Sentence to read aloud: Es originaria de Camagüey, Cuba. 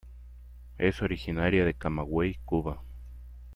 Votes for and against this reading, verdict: 2, 0, accepted